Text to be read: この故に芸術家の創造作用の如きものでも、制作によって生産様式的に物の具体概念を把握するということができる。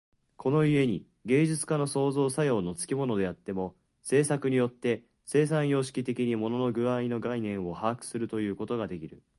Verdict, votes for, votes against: rejected, 0, 2